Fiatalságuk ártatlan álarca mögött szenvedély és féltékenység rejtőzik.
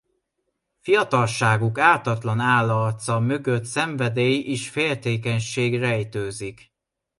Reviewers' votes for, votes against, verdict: 2, 0, accepted